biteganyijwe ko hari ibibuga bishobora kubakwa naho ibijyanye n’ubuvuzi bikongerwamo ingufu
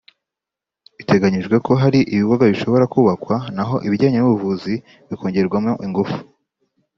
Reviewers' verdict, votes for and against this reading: rejected, 1, 2